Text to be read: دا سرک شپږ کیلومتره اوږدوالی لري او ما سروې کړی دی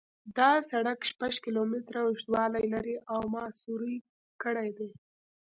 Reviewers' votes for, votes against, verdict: 2, 1, accepted